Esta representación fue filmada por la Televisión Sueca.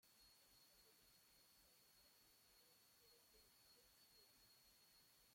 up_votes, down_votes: 0, 2